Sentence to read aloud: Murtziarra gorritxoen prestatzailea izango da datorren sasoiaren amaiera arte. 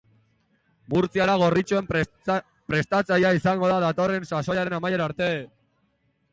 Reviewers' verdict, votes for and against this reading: rejected, 1, 2